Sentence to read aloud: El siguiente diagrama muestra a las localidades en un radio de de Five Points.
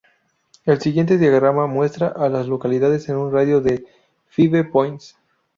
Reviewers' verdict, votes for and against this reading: rejected, 0, 2